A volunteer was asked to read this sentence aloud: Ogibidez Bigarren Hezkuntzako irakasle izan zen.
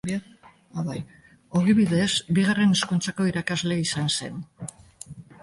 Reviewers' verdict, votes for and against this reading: accepted, 2, 0